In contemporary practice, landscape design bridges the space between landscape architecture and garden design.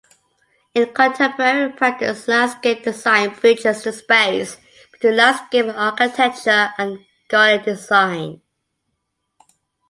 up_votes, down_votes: 0, 2